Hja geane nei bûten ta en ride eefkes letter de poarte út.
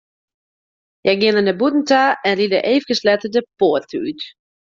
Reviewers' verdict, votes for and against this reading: rejected, 1, 2